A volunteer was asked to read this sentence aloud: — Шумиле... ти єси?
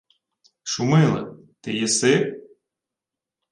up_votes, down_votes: 2, 0